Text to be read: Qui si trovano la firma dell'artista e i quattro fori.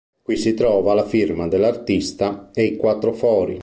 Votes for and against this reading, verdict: 1, 2, rejected